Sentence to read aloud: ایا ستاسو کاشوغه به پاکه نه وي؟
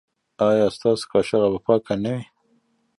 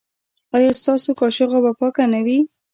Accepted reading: first